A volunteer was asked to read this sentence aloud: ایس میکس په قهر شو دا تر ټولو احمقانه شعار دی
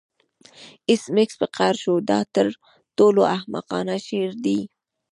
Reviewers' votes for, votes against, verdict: 2, 0, accepted